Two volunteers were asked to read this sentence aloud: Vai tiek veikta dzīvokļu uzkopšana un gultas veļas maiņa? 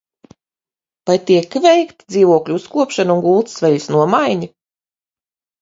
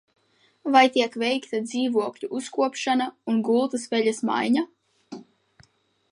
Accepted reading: second